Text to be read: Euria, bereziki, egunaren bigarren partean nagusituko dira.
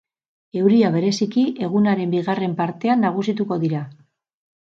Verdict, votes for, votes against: accepted, 4, 0